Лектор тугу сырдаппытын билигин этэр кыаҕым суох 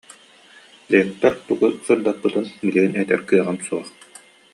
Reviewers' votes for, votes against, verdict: 2, 0, accepted